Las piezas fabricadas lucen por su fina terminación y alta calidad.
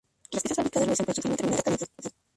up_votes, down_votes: 0, 4